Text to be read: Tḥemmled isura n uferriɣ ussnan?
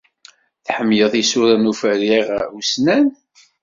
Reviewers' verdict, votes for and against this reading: rejected, 1, 2